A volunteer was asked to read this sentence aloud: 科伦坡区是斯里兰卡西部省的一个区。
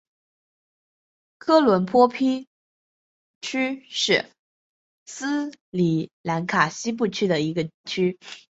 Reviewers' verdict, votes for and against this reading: rejected, 0, 3